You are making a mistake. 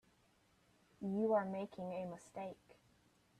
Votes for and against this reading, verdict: 2, 0, accepted